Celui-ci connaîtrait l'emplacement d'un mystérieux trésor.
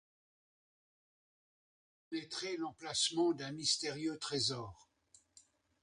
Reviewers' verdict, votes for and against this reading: rejected, 0, 2